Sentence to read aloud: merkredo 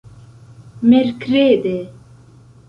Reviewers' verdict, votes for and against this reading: rejected, 0, 2